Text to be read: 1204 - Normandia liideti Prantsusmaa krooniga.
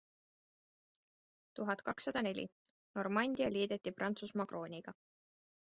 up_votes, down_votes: 0, 2